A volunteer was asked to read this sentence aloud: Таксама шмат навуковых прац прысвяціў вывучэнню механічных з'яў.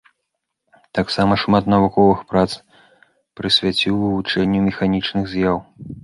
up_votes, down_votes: 2, 0